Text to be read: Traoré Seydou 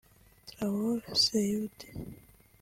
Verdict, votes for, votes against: rejected, 1, 2